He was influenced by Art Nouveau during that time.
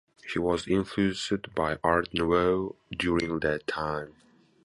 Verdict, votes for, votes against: rejected, 0, 2